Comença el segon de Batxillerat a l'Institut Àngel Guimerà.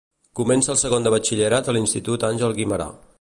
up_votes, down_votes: 2, 0